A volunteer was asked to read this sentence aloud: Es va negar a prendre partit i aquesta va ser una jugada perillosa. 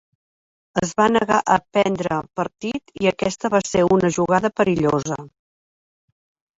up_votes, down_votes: 3, 0